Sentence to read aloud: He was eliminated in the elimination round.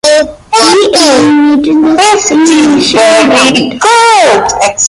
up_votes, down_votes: 0, 2